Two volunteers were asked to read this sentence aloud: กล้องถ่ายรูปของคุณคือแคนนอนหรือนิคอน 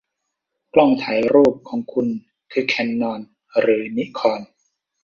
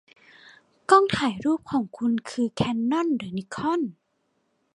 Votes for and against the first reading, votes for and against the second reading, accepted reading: 1, 2, 2, 0, second